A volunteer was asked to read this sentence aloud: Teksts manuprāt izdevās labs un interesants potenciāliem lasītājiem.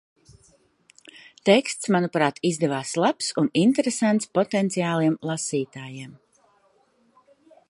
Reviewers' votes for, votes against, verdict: 2, 0, accepted